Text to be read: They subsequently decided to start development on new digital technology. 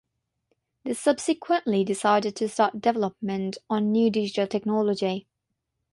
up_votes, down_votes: 6, 0